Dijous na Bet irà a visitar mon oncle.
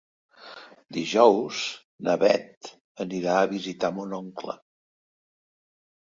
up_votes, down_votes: 1, 3